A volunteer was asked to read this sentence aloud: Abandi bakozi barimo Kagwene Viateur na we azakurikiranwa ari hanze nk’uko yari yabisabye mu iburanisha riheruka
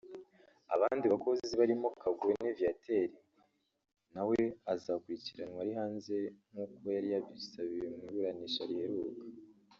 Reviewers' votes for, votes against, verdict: 3, 4, rejected